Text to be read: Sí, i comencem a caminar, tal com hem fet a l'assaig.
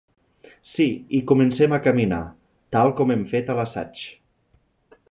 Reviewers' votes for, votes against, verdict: 3, 0, accepted